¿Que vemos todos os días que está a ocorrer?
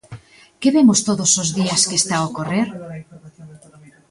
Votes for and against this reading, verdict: 0, 2, rejected